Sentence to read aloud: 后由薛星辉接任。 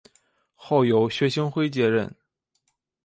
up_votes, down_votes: 2, 0